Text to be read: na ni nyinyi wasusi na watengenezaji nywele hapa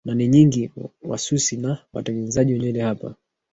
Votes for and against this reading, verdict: 1, 2, rejected